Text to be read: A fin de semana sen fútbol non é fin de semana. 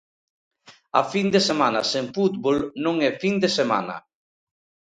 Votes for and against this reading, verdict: 2, 0, accepted